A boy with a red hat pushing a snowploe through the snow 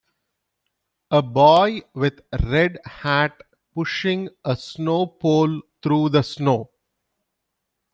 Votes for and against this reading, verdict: 0, 2, rejected